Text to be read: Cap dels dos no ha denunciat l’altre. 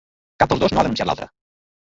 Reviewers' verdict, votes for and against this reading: rejected, 0, 3